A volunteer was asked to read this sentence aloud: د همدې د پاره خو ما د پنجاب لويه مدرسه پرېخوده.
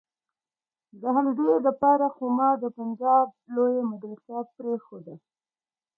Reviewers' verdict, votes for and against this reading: accepted, 2, 0